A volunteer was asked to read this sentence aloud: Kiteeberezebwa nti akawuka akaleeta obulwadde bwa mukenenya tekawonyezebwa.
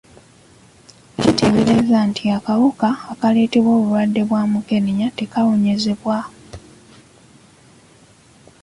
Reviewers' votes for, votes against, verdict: 0, 2, rejected